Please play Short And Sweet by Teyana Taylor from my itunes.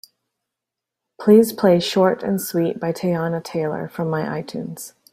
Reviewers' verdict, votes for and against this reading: accepted, 2, 0